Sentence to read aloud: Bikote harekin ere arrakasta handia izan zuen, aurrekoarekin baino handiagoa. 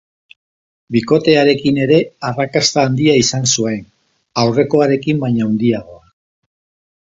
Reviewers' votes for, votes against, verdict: 2, 0, accepted